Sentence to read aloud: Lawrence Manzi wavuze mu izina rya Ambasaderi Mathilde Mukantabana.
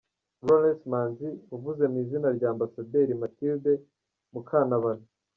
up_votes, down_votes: 0, 2